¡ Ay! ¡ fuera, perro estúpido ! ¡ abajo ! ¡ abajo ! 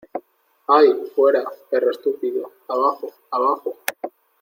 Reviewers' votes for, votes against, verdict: 2, 0, accepted